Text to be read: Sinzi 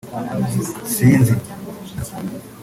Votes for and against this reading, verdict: 3, 0, accepted